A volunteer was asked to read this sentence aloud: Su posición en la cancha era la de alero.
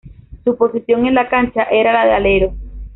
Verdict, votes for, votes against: accepted, 2, 1